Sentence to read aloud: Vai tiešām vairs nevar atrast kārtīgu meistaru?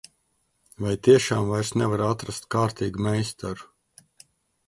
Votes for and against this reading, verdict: 2, 0, accepted